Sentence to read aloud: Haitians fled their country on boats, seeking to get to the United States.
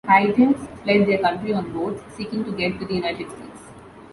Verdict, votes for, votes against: rejected, 0, 2